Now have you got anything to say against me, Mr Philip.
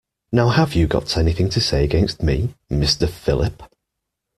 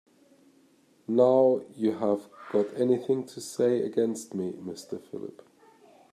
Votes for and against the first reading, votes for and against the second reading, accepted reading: 2, 0, 0, 2, first